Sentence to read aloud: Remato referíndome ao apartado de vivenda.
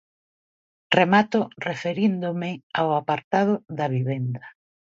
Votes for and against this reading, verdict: 0, 2, rejected